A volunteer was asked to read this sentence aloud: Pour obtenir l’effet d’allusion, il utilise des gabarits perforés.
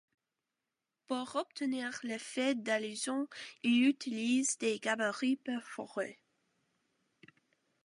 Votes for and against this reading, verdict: 2, 0, accepted